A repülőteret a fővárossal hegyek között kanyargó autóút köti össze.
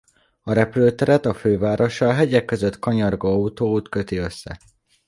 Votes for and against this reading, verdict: 2, 1, accepted